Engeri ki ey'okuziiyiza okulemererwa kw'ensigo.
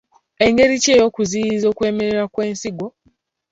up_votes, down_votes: 2, 0